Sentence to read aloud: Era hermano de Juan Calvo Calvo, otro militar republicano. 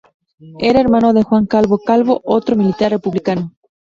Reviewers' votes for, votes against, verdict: 2, 0, accepted